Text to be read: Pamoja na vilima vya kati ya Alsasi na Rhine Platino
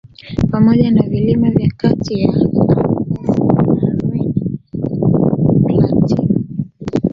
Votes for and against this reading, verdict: 0, 2, rejected